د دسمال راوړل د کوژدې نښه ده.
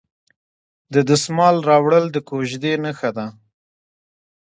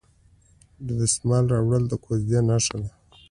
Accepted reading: second